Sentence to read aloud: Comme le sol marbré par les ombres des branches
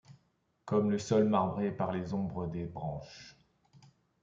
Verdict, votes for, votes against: accepted, 2, 0